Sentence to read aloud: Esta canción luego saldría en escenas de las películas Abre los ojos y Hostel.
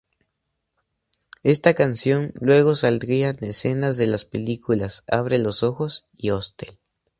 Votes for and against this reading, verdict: 0, 2, rejected